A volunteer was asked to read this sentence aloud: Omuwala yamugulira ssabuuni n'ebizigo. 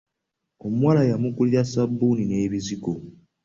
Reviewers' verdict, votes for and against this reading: accepted, 3, 0